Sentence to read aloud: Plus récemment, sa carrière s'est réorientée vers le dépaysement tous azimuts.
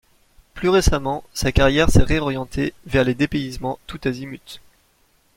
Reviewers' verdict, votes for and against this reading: rejected, 0, 2